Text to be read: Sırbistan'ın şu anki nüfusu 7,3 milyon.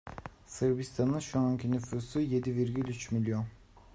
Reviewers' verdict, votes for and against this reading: rejected, 0, 2